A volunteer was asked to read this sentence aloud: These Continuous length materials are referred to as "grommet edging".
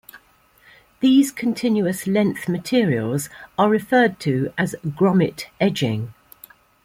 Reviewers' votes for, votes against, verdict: 2, 0, accepted